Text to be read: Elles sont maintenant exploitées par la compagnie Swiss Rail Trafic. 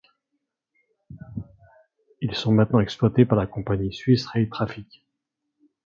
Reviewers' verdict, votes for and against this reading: rejected, 1, 2